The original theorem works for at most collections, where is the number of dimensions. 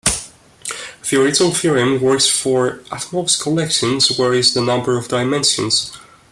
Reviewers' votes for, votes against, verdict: 1, 2, rejected